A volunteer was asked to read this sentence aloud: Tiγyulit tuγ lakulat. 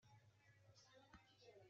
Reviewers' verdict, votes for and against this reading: rejected, 1, 2